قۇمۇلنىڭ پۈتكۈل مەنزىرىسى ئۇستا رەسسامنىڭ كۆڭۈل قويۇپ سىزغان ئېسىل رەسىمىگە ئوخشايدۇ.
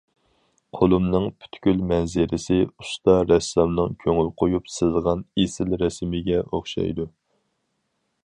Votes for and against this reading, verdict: 2, 2, rejected